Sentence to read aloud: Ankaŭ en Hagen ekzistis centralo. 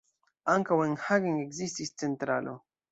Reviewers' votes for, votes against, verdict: 2, 0, accepted